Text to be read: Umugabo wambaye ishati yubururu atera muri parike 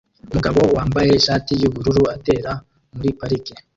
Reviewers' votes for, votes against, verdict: 1, 2, rejected